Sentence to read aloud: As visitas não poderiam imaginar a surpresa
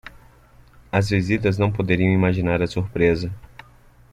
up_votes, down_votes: 2, 0